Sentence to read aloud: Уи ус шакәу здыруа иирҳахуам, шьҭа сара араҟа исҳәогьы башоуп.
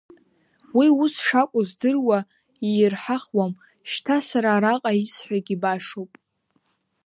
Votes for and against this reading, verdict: 2, 0, accepted